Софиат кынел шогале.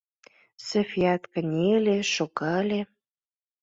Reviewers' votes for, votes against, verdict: 0, 2, rejected